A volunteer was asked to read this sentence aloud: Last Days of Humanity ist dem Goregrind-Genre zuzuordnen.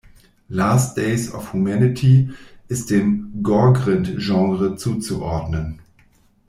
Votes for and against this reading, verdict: 1, 2, rejected